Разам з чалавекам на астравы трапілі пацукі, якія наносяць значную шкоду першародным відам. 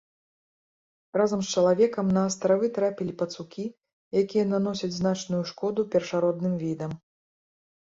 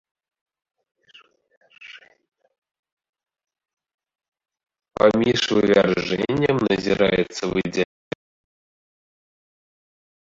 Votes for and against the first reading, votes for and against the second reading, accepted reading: 2, 0, 0, 2, first